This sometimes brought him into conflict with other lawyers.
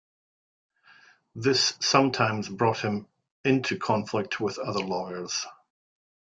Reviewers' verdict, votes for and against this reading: accepted, 3, 1